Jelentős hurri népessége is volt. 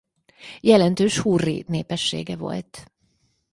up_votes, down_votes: 0, 4